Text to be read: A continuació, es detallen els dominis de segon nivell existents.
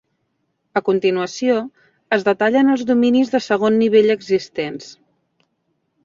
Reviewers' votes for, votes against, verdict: 2, 0, accepted